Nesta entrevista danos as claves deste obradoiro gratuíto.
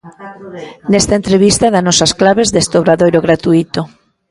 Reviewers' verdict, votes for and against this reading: rejected, 0, 2